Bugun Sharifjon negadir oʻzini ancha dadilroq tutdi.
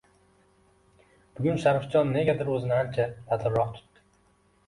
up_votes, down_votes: 2, 0